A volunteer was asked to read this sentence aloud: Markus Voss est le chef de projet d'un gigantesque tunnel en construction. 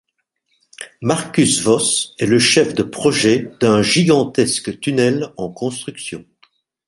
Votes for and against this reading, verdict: 3, 0, accepted